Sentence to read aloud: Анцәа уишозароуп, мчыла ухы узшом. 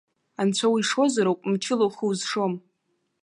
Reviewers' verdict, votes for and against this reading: accepted, 2, 0